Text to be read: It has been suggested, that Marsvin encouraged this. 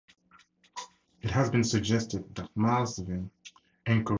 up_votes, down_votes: 0, 4